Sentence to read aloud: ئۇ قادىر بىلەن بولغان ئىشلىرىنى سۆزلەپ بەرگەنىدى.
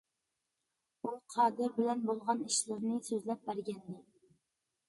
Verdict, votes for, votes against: accepted, 2, 0